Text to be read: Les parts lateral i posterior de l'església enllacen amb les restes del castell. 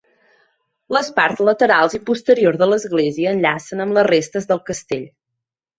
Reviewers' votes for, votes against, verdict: 0, 2, rejected